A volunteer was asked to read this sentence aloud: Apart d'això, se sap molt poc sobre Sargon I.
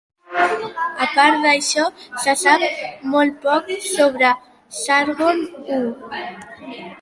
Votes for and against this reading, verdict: 1, 2, rejected